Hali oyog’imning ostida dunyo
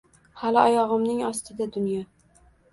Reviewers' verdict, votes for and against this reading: rejected, 1, 2